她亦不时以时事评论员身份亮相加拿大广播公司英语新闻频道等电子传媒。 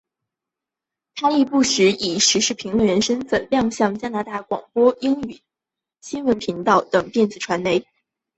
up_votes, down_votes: 2, 3